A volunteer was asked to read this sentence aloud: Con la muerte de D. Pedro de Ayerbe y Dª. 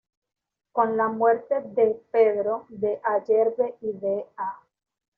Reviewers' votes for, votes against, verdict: 1, 2, rejected